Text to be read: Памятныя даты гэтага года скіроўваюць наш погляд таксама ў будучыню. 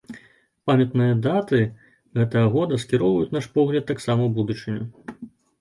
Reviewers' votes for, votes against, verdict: 2, 0, accepted